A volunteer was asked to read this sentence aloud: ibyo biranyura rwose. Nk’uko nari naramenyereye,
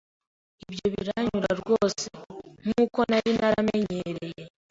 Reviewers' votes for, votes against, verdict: 3, 0, accepted